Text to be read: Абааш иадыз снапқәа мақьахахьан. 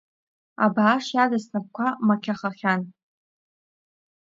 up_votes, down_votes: 2, 1